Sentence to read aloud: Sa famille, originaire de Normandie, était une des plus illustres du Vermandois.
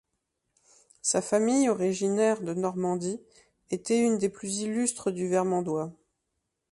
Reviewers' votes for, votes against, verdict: 2, 0, accepted